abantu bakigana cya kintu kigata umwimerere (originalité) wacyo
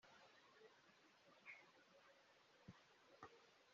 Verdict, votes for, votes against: rejected, 0, 2